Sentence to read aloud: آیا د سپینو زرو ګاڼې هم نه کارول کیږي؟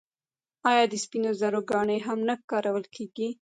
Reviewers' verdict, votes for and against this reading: rejected, 1, 2